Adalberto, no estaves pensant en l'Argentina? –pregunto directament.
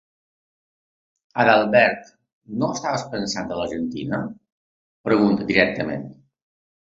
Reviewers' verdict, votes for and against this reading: rejected, 0, 2